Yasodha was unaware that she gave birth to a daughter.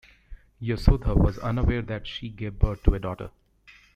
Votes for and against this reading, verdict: 0, 2, rejected